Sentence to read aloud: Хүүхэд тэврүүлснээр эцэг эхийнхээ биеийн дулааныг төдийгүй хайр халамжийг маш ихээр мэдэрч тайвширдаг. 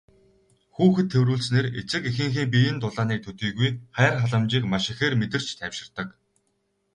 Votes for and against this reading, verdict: 2, 0, accepted